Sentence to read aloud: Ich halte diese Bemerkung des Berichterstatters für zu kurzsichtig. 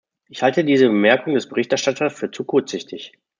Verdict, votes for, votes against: rejected, 1, 2